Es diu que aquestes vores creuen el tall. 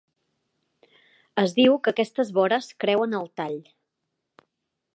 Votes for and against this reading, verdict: 0, 2, rejected